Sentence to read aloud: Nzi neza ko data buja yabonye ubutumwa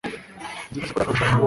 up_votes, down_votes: 1, 2